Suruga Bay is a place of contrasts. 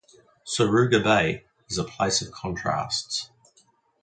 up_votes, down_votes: 2, 0